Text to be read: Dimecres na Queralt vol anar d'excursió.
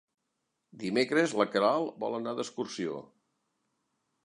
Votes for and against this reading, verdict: 0, 2, rejected